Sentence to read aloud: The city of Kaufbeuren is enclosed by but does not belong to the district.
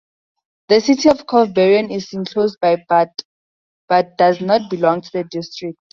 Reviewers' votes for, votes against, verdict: 2, 4, rejected